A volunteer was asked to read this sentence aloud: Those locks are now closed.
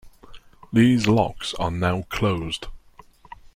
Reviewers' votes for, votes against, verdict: 0, 3, rejected